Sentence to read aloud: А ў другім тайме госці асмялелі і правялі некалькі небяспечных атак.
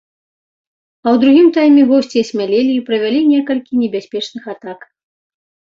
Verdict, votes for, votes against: accepted, 2, 0